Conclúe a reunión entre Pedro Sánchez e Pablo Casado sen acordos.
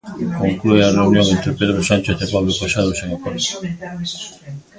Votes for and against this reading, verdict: 0, 2, rejected